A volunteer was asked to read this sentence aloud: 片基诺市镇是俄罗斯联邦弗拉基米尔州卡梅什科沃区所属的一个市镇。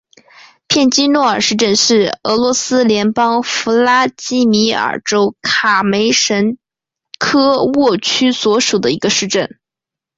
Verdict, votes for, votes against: accepted, 6, 1